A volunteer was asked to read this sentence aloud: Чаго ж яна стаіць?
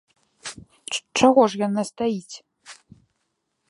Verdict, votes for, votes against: rejected, 1, 2